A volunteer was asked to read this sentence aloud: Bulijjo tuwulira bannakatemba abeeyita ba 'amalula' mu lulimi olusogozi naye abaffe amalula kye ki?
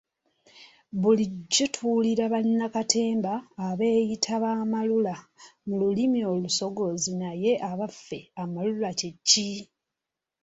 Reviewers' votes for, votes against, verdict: 2, 0, accepted